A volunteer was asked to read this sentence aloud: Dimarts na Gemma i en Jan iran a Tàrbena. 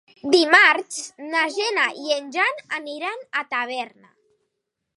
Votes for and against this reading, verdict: 0, 2, rejected